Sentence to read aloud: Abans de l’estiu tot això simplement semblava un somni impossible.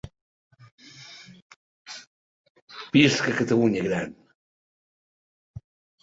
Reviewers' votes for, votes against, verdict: 0, 2, rejected